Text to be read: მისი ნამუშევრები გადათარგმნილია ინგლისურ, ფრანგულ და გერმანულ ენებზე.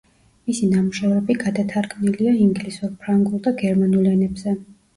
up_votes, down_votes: 2, 0